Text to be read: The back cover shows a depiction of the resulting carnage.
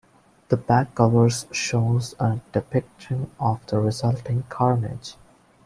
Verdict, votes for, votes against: accepted, 2, 0